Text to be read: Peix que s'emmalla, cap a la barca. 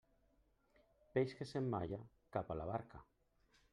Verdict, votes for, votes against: accepted, 2, 0